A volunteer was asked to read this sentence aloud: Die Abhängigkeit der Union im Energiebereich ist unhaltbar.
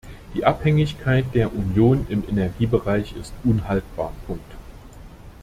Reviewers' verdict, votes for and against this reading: rejected, 0, 2